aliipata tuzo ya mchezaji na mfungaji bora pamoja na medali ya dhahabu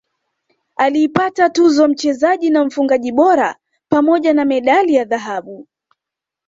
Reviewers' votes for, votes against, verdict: 2, 0, accepted